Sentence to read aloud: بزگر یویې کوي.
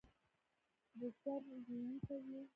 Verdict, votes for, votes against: rejected, 0, 2